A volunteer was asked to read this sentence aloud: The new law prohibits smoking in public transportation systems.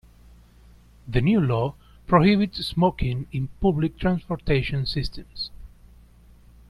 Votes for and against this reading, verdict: 2, 0, accepted